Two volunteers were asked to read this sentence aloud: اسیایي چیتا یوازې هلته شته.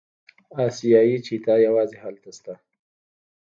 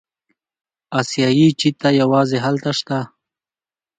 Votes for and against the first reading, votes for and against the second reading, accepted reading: 1, 2, 2, 0, second